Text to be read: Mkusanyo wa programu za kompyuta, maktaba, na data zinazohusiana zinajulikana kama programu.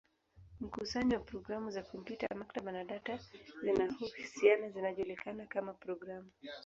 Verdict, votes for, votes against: accepted, 19, 8